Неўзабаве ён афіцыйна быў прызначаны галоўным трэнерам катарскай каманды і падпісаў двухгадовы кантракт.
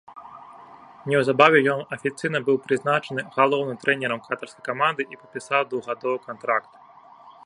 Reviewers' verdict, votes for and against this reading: accepted, 2, 0